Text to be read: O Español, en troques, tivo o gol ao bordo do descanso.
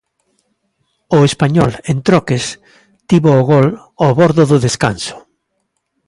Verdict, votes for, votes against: accepted, 2, 0